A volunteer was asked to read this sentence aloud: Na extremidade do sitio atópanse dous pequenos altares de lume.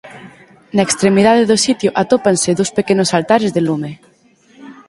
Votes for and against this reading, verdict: 4, 0, accepted